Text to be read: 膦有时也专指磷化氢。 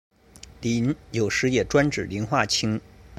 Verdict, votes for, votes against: accepted, 2, 0